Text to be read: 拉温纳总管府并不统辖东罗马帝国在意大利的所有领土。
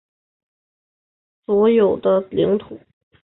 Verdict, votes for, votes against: rejected, 1, 2